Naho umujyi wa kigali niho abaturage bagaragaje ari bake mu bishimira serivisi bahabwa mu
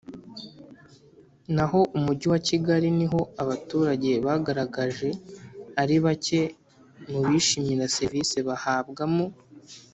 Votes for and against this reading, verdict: 2, 0, accepted